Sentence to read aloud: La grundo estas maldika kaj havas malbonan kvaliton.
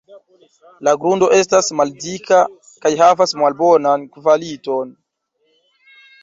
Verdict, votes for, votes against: accepted, 2, 0